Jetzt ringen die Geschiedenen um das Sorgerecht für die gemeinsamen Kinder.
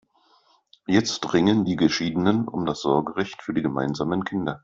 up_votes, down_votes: 2, 0